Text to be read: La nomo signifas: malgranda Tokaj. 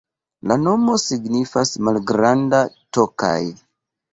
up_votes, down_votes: 2, 1